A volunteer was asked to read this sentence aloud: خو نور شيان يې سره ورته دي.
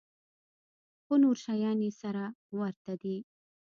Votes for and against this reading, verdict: 2, 0, accepted